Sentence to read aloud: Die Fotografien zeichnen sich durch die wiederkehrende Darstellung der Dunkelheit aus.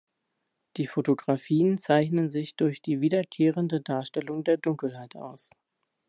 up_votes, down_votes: 2, 0